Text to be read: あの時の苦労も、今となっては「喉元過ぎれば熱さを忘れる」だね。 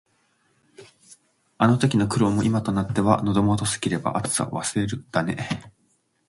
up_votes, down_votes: 1, 2